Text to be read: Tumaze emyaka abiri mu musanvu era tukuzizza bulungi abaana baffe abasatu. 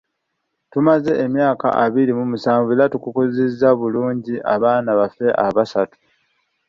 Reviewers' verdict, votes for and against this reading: accepted, 2, 1